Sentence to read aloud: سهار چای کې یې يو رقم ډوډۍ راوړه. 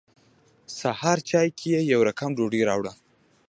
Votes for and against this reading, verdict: 2, 0, accepted